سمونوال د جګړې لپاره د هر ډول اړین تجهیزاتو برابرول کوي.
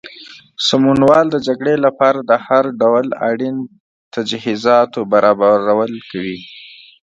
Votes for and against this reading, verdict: 2, 0, accepted